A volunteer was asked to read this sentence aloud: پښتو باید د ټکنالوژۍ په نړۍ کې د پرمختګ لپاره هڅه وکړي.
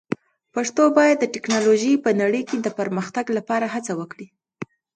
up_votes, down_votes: 2, 0